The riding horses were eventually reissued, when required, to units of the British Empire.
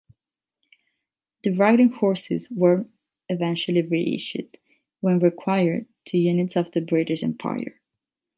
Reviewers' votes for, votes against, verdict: 8, 0, accepted